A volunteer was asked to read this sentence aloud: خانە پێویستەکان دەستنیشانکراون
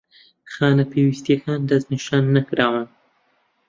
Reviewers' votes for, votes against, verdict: 0, 2, rejected